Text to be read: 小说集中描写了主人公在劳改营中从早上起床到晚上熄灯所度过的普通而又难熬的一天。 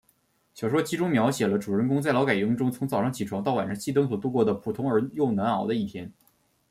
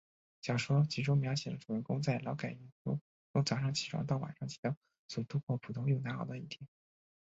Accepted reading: first